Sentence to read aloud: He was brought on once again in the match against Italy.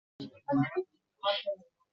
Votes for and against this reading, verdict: 0, 2, rejected